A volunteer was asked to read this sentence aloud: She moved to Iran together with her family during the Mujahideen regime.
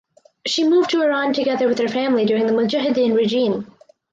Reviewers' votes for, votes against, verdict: 4, 0, accepted